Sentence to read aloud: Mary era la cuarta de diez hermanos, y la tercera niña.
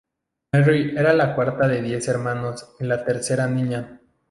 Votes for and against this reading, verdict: 0, 2, rejected